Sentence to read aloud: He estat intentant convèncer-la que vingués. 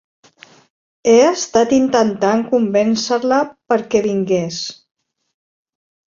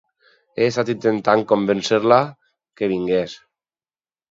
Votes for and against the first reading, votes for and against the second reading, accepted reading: 1, 2, 4, 0, second